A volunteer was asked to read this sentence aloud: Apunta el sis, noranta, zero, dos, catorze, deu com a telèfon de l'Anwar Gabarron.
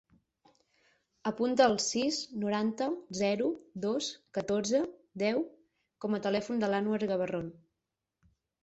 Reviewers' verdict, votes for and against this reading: accepted, 6, 0